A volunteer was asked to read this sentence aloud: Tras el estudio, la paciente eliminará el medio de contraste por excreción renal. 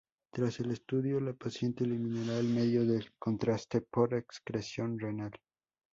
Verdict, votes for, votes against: accepted, 2, 0